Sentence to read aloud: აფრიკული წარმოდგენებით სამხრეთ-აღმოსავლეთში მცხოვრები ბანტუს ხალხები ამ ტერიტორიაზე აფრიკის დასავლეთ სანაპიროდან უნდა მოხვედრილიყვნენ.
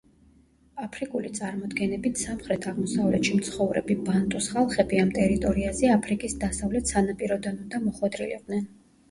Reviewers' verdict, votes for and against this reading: rejected, 0, 2